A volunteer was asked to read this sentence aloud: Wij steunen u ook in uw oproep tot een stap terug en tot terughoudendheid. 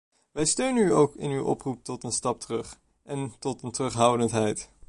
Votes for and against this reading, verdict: 1, 2, rejected